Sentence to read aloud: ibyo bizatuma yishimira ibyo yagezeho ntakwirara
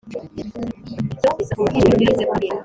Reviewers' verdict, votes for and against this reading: rejected, 0, 2